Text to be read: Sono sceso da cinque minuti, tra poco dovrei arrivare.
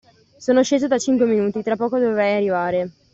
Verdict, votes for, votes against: accepted, 2, 0